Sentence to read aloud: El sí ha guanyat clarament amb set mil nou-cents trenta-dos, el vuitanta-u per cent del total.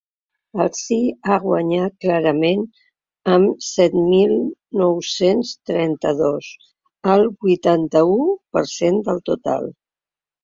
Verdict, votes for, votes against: accepted, 3, 0